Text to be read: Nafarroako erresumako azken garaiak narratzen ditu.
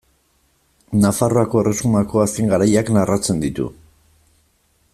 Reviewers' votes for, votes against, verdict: 2, 0, accepted